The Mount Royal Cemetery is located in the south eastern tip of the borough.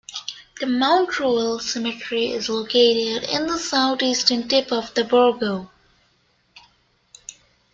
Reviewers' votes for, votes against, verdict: 0, 2, rejected